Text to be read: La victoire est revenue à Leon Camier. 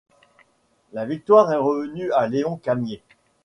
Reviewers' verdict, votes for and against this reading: accepted, 2, 1